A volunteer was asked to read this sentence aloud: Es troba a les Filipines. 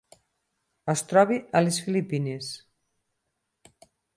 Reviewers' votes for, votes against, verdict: 2, 6, rejected